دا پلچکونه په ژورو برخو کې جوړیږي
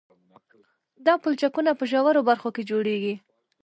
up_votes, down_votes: 2, 0